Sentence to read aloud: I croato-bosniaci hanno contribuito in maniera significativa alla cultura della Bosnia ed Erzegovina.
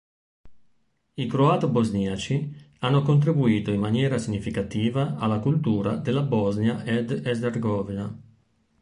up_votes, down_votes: 1, 2